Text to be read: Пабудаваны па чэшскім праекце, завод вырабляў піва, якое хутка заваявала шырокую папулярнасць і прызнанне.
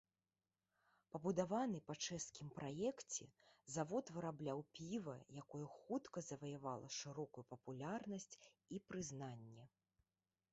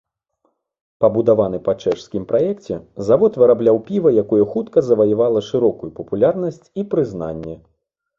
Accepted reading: second